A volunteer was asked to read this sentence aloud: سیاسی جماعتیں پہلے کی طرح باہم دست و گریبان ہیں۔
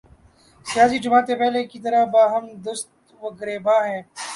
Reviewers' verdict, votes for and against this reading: accepted, 3, 0